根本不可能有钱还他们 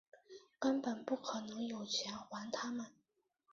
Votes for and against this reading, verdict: 0, 2, rejected